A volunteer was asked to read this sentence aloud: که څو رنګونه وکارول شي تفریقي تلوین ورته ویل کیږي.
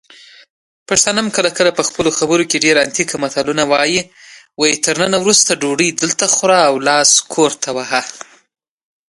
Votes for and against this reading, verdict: 1, 2, rejected